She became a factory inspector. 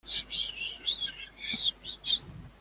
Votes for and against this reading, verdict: 0, 2, rejected